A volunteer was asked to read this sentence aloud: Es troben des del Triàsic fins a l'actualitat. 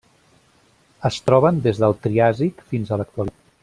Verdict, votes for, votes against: rejected, 1, 2